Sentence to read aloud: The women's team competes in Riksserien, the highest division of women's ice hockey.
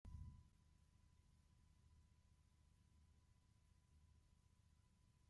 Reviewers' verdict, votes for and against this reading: rejected, 0, 2